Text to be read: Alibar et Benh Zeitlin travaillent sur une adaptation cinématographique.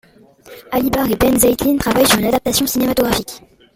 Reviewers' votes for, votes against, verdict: 1, 2, rejected